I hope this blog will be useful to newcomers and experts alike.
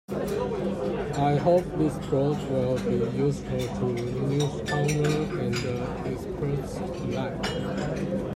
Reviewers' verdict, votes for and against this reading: accepted, 2, 0